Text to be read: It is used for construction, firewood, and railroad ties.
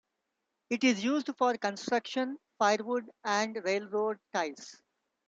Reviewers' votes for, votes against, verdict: 2, 0, accepted